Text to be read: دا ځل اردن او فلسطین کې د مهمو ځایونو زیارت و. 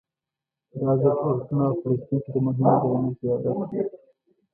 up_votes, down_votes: 1, 2